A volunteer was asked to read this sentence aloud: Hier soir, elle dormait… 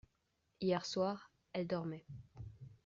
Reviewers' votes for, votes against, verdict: 2, 0, accepted